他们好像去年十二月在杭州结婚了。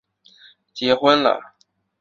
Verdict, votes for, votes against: rejected, 0, 2